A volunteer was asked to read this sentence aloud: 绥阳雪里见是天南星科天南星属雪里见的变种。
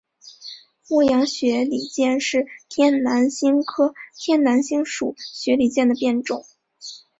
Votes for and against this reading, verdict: 4, 1, accepted